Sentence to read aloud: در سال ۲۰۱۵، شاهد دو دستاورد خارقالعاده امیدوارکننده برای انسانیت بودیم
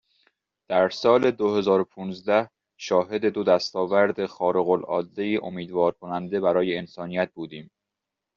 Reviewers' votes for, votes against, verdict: 0, 2, rejected